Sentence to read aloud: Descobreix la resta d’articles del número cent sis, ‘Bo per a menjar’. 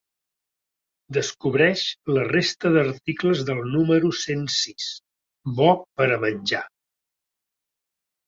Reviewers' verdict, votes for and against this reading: accepted, 2, 0